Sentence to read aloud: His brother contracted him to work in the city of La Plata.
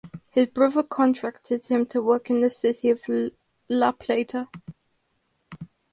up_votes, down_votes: 2, 2